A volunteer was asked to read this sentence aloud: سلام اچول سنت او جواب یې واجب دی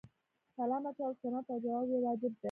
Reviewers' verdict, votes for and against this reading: rejected, 1, 2